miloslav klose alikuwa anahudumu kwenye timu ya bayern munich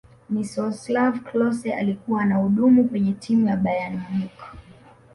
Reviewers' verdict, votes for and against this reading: rejected, 0, 2